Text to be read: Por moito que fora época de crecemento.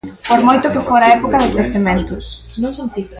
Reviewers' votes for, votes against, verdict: 1, 2, rejected